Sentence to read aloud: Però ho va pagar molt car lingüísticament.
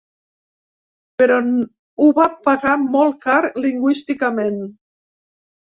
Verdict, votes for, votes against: accepted, 3, 1